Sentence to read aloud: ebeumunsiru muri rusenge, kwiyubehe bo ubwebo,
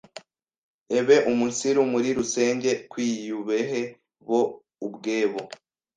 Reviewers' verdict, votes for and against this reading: rejected, 1, 2